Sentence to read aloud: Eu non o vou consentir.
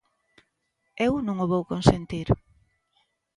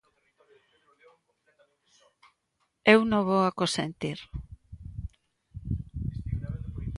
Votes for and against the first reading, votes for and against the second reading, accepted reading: 2, 0, 0, 2, first